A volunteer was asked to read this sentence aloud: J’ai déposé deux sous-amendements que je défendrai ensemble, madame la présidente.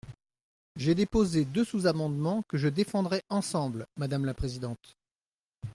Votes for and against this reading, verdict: 2, 0, accepted